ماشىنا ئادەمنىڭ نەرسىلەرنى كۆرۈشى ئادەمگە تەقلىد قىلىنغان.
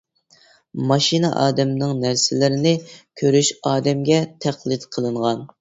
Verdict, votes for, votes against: rejected, 0, 2